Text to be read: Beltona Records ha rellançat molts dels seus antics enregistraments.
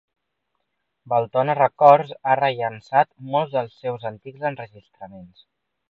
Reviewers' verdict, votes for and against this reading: accepted, 2, 1